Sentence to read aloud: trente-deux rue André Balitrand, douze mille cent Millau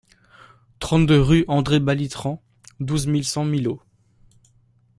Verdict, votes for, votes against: rejected, 1, 2